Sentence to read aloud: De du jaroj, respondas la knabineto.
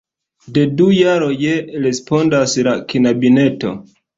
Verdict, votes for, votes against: accepted, 2, 0